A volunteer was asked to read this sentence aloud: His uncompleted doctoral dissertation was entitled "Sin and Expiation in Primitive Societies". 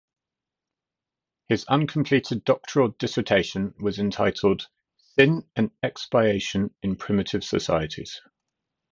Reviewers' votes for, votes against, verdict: 0, 2, rejected